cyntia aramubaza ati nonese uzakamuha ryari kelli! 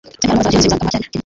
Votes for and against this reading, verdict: 0, 2, rejected